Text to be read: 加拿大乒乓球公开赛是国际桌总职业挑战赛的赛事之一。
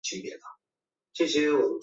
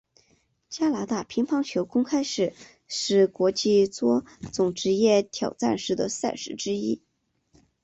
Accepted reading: second